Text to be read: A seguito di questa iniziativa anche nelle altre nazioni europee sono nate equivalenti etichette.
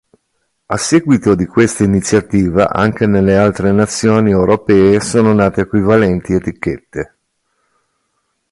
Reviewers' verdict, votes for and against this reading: accepted, 3, 0